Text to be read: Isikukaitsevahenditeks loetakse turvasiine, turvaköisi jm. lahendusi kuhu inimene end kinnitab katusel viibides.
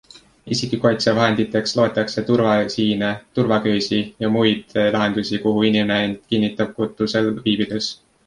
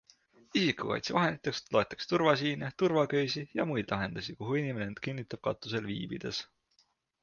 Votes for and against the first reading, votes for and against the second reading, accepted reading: 1, 2, 2, 0, second